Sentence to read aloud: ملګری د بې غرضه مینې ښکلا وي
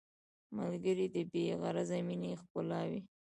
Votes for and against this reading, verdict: 1, 2, rejected